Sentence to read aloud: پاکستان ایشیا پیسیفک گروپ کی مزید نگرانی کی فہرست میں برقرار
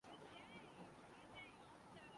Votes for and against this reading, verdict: 0, 2, rejected